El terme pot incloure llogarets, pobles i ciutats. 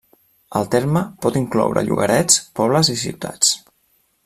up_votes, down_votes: 3, 0